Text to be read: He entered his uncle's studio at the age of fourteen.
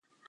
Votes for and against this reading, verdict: 0, 2, rejected